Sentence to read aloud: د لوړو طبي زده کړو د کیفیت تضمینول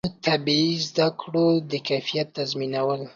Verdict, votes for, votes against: rejected, 0, 2